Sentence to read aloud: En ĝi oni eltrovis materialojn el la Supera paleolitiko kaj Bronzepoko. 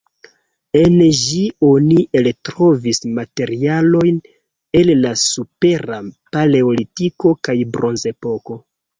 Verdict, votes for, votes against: accepted, 2, 0